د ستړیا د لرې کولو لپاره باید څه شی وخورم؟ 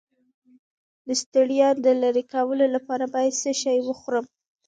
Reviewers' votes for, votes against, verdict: 1, 2, rejected